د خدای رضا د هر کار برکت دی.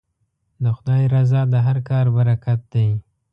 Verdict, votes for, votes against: accepted, 2, 0